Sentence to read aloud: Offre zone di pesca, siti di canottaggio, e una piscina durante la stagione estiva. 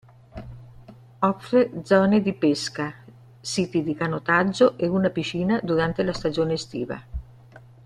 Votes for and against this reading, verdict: 0, 2, rejected